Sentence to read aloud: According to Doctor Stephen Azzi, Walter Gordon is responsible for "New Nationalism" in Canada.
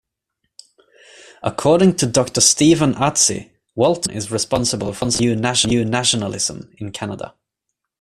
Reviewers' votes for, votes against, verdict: 1, 2, rejected